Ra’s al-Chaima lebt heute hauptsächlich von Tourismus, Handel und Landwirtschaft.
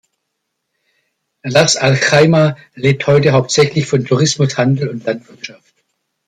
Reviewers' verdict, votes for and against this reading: accepted, 2, 1